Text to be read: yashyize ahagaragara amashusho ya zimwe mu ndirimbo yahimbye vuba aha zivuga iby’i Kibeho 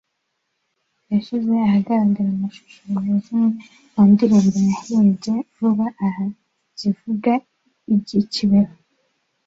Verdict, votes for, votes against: accepted, 2, 1